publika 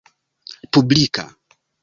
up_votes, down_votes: 2, 1